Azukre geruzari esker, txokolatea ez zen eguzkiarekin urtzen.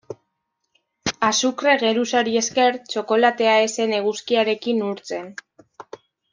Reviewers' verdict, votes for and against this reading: accepted, 2, 0